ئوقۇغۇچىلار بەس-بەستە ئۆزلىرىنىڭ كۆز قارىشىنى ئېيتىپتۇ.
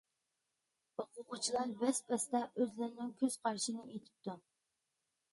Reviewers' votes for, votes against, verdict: 2, 1, accepted